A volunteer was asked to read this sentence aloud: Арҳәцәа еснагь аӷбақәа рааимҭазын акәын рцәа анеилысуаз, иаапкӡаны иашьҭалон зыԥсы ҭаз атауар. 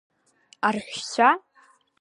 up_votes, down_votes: 0, 2